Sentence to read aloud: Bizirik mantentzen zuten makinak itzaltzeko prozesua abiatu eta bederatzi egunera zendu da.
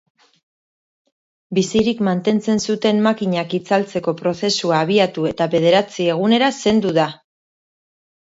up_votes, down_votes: 3, 0